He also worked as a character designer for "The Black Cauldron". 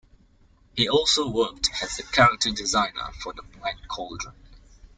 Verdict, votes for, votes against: rejected, 1, 2